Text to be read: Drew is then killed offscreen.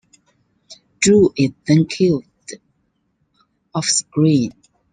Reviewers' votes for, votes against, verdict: 0, 2, rejected